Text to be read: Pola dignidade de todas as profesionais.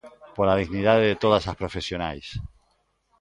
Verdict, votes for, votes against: rejected, 1, 2